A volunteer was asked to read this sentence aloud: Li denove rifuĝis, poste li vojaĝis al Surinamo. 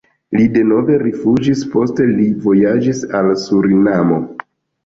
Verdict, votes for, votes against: accepted, 2, 0